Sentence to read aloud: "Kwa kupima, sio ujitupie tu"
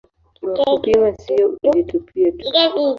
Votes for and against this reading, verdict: 1, 2, rejected